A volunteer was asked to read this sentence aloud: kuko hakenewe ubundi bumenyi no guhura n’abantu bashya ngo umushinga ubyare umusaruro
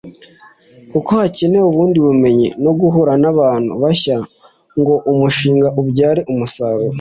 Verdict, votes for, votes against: accepted, 2, 1